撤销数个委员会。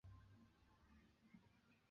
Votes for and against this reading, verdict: 0, 3, rejected